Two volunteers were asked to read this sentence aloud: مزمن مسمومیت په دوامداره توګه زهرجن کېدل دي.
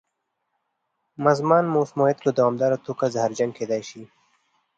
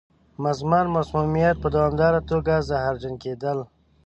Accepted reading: first